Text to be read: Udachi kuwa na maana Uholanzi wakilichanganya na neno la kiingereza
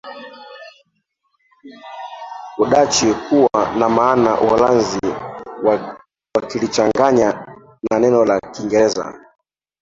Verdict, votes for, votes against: rejected, 0, 2